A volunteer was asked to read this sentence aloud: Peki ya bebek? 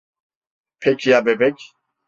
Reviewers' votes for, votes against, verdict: 2, 0, accepted